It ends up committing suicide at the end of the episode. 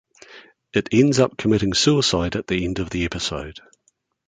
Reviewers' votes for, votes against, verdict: 3, 0, accepted